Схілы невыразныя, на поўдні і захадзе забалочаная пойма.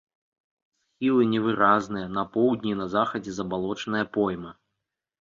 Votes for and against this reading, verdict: 1, 2, rejected